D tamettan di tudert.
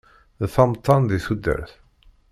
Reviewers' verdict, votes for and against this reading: rejected, 1, 2